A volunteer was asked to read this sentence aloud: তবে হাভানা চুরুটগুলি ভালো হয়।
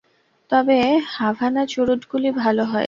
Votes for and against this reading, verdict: 0, 2, rejected